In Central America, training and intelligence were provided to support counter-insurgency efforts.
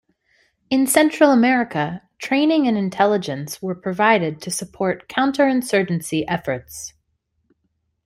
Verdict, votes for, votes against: accepted, 2, 1